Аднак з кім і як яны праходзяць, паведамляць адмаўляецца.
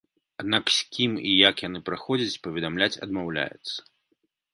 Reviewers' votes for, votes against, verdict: 2, 0, accepted